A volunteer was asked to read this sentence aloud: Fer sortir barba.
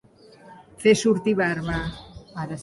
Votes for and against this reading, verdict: 0, 2, rejected